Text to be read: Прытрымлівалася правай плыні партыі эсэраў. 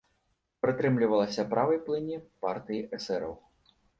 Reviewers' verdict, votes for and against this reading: accepted, 2, 0